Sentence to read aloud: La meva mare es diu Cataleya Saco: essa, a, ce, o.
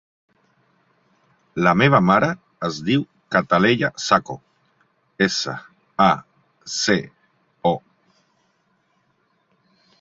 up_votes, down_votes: 3, 0